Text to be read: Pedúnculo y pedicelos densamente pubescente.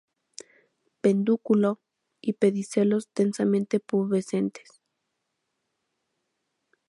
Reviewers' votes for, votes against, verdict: 0, 2, rejected